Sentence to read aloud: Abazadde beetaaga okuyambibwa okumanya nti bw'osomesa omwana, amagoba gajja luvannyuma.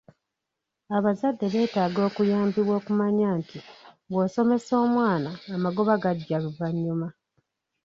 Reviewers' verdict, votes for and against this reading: rejected, 1, 2